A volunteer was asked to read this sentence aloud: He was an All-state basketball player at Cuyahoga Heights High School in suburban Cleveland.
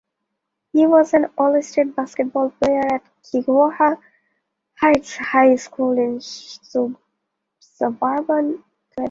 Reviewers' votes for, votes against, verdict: 0, 2, rejected